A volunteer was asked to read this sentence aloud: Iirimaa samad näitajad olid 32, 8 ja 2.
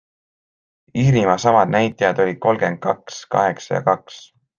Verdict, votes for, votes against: rejected, 0, 2